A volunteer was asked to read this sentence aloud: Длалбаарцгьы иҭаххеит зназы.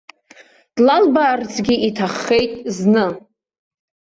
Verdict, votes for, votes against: rejected, 1, 2